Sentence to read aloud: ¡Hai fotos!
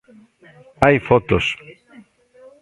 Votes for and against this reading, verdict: 1, 2, rejected